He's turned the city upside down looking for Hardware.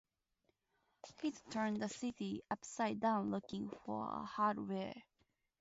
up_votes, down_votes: 2, 2